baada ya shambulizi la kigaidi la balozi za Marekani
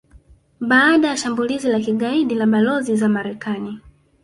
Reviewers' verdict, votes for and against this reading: rejected, 0, 2